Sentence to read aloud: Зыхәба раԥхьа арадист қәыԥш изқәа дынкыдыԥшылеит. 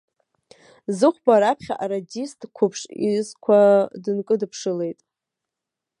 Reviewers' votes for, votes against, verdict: 0, 2, rejected